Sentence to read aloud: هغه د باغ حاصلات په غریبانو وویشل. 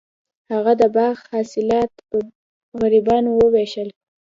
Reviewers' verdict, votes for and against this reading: accepted, 3, 0